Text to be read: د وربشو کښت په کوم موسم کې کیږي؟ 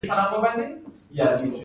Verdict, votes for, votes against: accepted, 2, 0